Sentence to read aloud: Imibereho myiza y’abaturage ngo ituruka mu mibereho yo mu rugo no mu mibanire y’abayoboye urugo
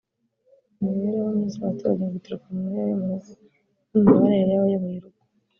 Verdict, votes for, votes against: rejected, 1, 3